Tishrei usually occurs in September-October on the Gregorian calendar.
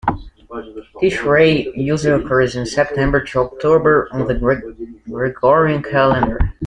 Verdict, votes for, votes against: accepted, 2, 0